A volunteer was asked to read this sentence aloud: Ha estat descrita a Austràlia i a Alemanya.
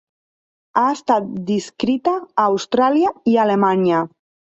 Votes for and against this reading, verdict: 0, 2, rejected